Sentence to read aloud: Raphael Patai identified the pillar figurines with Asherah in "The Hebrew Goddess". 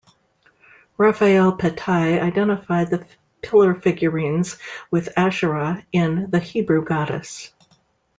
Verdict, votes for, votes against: accepted, 2, 1